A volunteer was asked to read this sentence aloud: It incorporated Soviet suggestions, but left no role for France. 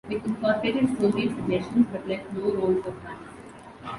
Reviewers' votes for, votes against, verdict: 0, 2, rejected